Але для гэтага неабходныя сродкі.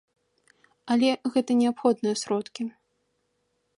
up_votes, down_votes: 0, 2